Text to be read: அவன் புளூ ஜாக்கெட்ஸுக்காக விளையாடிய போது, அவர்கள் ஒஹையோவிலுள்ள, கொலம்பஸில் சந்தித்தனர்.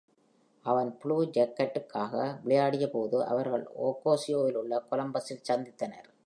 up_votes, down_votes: 0, 2